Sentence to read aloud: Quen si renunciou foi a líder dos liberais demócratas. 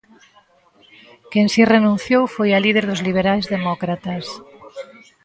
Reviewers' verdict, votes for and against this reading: rejected, 1, 2